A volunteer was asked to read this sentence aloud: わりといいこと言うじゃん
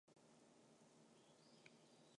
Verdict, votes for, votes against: rejected, 0, 2